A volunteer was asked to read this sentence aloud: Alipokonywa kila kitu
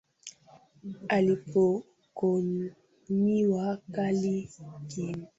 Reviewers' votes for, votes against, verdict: 0, 2, rejected